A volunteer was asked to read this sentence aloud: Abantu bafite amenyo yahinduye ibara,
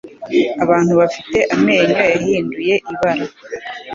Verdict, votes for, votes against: accepted, 2, 0